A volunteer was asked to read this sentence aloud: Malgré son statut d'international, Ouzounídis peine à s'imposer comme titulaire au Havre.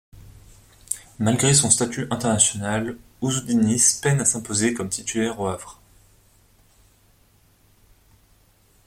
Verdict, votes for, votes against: rejected, 0, 2